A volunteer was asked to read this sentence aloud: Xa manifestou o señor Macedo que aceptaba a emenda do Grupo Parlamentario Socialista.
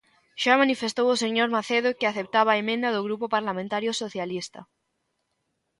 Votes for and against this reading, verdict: 3, 0, accepted